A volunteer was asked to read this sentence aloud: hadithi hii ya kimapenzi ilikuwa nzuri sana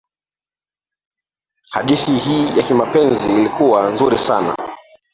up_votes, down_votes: 1, 2